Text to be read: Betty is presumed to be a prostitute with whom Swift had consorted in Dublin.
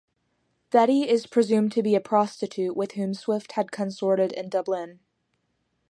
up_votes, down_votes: 4, 0